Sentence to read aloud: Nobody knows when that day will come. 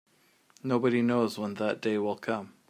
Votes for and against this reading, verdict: 2, 0, accepted